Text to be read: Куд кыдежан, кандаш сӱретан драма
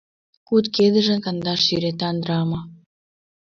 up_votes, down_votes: 1, 2